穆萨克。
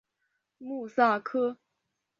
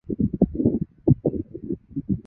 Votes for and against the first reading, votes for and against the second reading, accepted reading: 7, 1, 1, 2, first